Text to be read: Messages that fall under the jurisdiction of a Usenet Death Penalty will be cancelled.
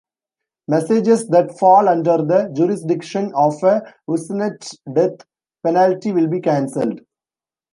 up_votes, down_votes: 0, 2